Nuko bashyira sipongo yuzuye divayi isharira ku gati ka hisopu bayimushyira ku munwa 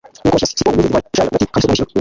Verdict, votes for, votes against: rejected, 0, 2